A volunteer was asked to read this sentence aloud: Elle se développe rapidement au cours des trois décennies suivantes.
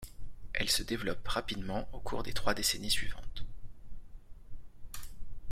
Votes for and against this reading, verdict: 2, 0, accepted